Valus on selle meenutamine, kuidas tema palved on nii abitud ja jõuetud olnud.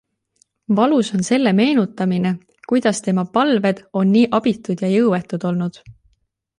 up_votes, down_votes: 2, 1